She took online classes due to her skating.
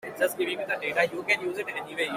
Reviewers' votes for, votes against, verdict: 0, 2, rejected